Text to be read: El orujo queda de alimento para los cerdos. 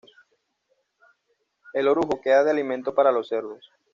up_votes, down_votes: 2, 0